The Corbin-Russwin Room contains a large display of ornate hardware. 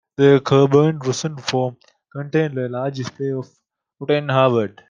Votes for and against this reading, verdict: 1, 2, rejected